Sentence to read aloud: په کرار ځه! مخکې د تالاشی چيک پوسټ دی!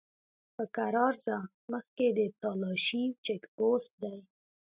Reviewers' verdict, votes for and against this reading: accepted, 2, 0